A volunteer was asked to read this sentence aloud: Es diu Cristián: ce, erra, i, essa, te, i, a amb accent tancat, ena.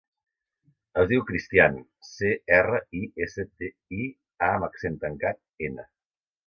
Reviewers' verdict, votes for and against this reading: accepted, 2, 0